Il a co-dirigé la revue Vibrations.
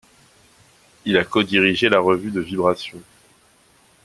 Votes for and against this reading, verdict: 1, 2, rejected